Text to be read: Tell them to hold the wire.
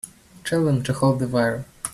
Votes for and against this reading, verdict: 2, 0, accepted